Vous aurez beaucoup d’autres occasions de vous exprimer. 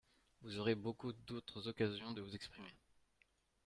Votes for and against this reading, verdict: 0, 2, rejected